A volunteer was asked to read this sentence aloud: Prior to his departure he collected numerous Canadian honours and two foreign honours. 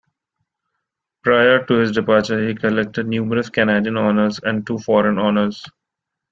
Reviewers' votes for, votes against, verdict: 2, 0, accepted